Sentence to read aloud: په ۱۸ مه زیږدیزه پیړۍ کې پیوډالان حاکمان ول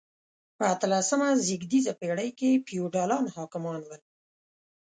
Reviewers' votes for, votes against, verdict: 0, 2, rejected